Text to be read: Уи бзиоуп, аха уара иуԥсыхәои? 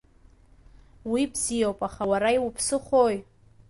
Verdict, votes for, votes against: accepted, 2, 0